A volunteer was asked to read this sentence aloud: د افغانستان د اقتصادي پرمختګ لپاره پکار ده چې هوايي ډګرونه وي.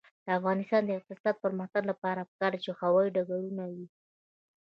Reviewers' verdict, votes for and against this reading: accepted, 2, 0